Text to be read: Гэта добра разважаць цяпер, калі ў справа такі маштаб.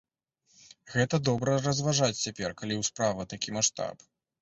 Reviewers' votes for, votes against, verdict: 2, 0, accepted